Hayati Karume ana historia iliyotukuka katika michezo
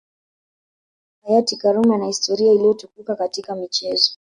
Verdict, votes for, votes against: accepted, 2, 0